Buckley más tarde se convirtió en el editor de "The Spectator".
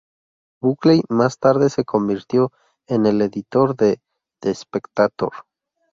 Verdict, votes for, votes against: rejected, 0, 2